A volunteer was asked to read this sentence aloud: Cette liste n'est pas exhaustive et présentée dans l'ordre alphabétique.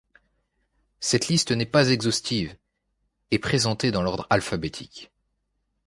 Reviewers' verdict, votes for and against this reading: accepted, 2, 1